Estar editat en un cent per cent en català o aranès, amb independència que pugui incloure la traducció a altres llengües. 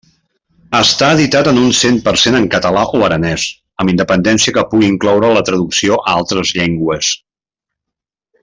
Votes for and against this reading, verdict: 2, 0, accepted